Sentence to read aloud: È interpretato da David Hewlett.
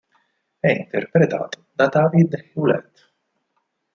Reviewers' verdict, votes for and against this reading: rejected, 0, 4